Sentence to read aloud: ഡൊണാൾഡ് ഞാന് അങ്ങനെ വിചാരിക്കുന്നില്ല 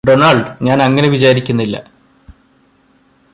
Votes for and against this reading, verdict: 2, 0, accepted